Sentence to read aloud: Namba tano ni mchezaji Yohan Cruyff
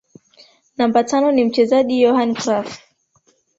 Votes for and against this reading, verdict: 1, 2, rejected